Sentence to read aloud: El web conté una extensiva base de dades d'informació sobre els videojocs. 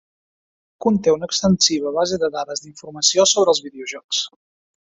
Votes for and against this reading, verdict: 0, 2, rejected